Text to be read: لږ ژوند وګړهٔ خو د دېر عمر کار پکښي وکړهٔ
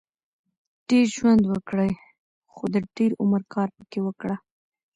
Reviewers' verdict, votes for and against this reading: rejected, 1, 2